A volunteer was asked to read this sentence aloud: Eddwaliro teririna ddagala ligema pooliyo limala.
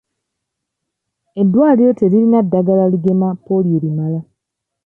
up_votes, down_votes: 2, 0